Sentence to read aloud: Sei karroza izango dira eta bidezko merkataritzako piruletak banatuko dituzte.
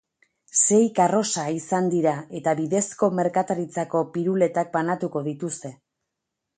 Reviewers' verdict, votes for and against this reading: rejected, 2, 6